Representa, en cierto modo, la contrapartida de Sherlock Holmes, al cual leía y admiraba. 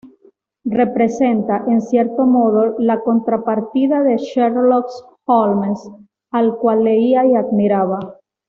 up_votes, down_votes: 1, 2